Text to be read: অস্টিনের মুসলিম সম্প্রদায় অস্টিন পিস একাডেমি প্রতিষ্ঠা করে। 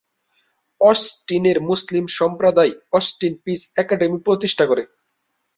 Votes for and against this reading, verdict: 5, 0, accepted